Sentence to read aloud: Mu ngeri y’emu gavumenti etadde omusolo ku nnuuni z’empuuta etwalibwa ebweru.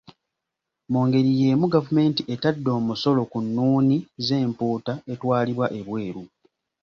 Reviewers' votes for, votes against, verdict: 2, 0, accepted